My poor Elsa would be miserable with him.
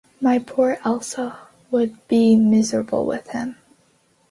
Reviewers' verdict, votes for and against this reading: accepted, 2, 0